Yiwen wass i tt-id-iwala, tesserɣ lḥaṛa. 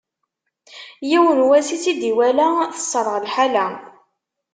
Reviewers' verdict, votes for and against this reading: rejected, 1, 2